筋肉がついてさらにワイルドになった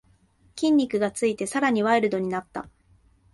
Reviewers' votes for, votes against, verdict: 2, 0, accepted